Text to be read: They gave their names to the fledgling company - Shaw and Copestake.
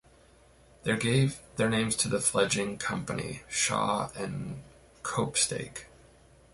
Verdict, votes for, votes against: accepted, 2, 0